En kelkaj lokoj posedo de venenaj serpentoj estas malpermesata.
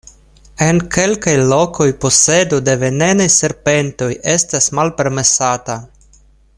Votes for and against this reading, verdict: 1, 2, rejected